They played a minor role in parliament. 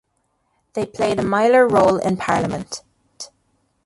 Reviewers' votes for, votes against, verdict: 0, 2, rejected